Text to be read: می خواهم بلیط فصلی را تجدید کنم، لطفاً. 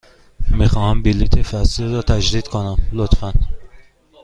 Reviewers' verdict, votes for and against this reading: accepted, 2, 0